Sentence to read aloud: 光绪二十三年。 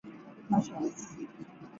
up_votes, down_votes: 0, 2